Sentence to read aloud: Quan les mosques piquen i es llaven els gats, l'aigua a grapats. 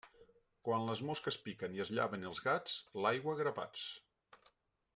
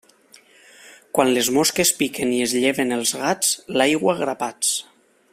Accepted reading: first